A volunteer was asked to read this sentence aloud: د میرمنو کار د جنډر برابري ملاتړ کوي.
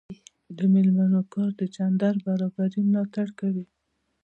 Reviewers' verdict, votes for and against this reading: accepted, 2, 0